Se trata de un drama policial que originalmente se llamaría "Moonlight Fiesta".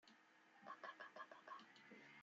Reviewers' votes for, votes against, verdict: 0, 2, rejected